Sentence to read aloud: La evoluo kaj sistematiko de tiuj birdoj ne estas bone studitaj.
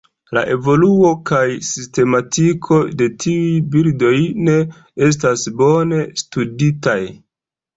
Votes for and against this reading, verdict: 2, 1, accepted